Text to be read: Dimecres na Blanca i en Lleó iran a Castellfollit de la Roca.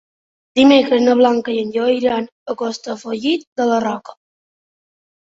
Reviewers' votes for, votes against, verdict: 2, 0, accepted